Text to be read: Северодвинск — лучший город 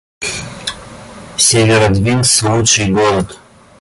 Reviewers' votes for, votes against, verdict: 0, 2, rejected